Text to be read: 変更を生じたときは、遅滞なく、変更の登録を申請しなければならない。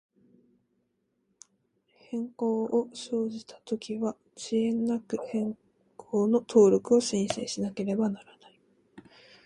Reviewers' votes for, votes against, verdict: 2, 0, accepted